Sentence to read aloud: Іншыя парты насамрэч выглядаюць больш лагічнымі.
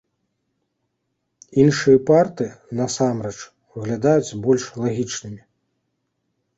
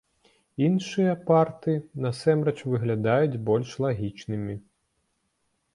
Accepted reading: first